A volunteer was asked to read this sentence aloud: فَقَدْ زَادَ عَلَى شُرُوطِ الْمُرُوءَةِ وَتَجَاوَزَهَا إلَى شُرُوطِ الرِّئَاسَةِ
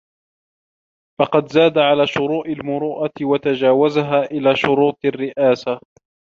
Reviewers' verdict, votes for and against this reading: rejected, 0, 2